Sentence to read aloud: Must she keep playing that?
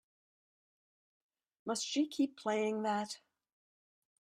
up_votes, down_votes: 1, 2